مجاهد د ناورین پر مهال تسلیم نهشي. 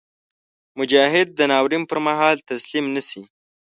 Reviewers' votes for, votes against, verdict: 2, 0, accepted